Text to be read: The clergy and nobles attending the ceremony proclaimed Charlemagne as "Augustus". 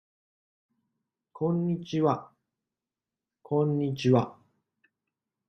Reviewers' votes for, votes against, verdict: 0, 2, rejected